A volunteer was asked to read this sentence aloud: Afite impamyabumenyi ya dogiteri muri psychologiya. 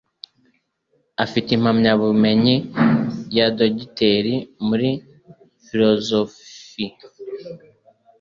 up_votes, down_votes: 2, 0